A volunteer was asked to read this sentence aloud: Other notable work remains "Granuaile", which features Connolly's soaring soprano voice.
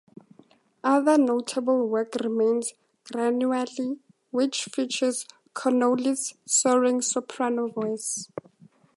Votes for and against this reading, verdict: 2, 0, accepted